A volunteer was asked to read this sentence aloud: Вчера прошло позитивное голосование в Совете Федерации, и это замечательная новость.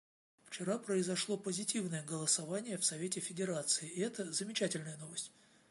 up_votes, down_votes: 1, 2